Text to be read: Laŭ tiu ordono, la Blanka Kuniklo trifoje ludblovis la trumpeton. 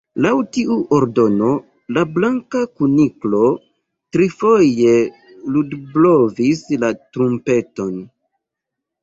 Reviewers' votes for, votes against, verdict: 2, 0, accepted